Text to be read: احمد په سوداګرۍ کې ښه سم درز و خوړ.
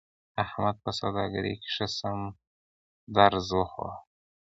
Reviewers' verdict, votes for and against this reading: accepted, 2, 1